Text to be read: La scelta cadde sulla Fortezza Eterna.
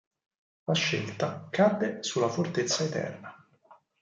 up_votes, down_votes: 4, 0